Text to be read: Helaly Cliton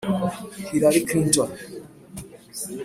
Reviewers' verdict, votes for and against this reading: rejected, 0, 2